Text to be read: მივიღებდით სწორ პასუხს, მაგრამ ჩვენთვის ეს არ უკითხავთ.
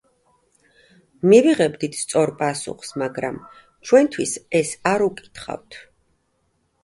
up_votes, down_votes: 2, 0